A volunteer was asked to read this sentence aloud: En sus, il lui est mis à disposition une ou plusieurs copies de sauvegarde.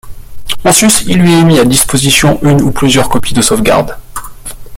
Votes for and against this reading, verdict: 2, 0, accepted